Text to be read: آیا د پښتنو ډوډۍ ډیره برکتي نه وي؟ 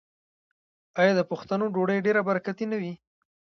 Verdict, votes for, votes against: rejected, 0, 2